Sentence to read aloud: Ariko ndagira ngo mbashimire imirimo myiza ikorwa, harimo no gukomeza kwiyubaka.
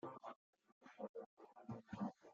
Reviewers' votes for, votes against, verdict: 0, 3, rejected